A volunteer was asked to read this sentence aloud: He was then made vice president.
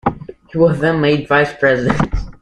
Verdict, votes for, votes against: accepted, 2, 0